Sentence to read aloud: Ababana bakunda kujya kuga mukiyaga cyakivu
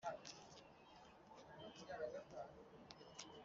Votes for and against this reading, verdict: 0, 2, rejected